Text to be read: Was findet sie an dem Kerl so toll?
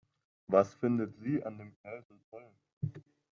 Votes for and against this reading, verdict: 0, 2, rejected